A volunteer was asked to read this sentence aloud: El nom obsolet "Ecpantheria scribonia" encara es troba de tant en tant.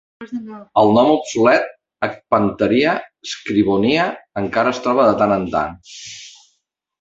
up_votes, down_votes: 2, 1